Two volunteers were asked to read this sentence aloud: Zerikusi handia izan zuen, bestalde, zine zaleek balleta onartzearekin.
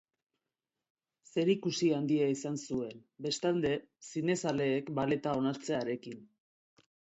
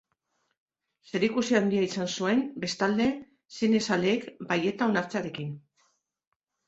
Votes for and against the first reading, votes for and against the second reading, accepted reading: 3, 0, 0, 2, first